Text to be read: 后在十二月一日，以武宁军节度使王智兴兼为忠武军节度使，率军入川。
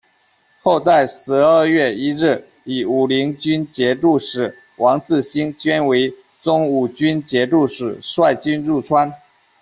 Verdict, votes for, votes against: accepted, 2, 0